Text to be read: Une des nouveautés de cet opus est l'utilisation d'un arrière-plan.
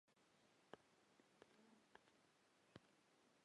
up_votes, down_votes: 0, 2